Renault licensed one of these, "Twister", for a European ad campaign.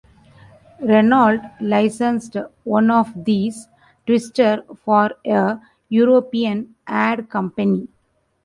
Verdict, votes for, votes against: rejected, 0, 2